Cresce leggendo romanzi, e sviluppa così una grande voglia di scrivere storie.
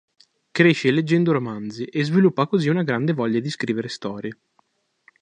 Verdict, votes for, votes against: accepted, 2, 0